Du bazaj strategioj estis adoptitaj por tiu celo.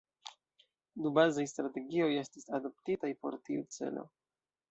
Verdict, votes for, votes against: rejected, 1, 2